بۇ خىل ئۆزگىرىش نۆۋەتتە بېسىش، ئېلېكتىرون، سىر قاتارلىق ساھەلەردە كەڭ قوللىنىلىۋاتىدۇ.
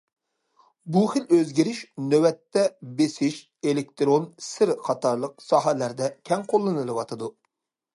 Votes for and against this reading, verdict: 2, 0, accepted